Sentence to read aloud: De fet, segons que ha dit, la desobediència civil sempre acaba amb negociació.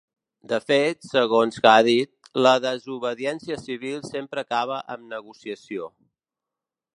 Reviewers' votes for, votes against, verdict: 3, 0, accepted